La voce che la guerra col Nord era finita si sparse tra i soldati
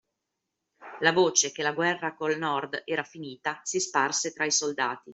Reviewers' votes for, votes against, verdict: 2, 0, accepted